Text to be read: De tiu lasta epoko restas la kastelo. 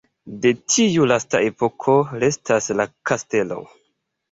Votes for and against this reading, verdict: 2, 0, accepted